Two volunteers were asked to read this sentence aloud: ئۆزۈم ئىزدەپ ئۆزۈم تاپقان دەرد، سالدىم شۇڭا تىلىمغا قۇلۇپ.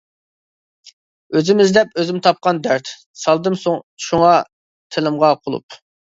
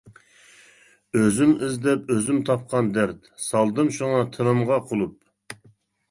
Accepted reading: second